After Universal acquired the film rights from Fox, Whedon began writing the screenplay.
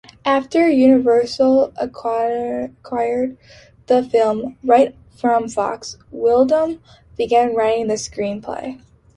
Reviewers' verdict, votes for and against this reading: rejected, 0, 2